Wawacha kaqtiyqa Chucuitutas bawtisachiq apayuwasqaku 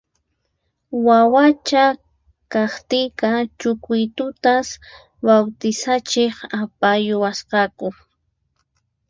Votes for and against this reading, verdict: 4, 0, accepted